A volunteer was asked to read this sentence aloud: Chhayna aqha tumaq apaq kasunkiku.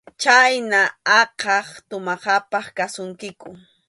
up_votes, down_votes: 2, 0